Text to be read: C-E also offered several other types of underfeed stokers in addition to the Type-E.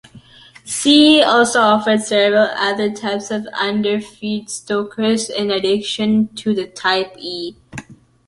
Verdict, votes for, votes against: accepted, 2, 0